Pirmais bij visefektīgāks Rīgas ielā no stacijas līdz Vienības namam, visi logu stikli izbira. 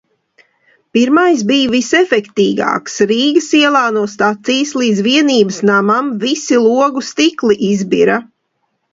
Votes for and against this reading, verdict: 2, 0, accepted